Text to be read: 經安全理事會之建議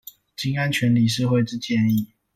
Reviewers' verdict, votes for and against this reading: accepted, 2, 0